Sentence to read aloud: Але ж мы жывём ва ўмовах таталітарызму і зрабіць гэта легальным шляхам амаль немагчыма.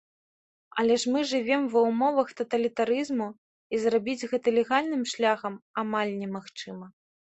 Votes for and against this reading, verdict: 2, 1, accepted